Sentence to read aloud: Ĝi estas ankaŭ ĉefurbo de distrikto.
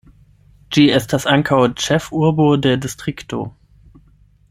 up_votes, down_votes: 8, 0